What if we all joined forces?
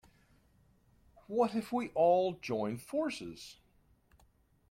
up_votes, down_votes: 2, 0